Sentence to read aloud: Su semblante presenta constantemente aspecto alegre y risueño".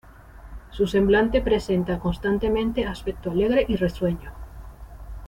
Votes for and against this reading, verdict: 2, 1, accepted